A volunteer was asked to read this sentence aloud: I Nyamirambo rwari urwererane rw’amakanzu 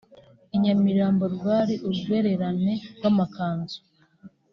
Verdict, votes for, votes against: accepted, 2, 0